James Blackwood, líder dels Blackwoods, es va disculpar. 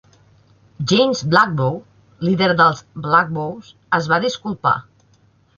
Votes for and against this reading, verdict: 1, 2, rejected